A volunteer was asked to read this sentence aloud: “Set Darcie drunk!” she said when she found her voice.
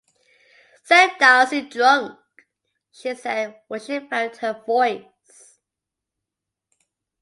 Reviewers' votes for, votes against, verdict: 2, 0, accepted